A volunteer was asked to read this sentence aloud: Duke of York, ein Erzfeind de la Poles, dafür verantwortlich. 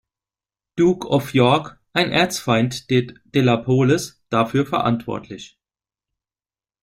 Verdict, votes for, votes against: rejected, 1, 2